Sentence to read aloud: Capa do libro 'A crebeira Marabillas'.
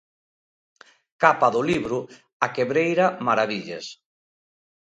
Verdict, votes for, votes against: rejected, 0, 2